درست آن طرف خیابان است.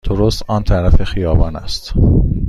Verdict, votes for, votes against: accepted, 2, 0